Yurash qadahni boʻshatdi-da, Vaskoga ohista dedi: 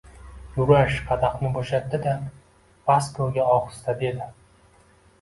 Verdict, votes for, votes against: accepted, 2, 0